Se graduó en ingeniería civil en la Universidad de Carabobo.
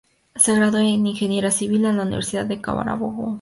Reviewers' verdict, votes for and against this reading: accepted, 2, 0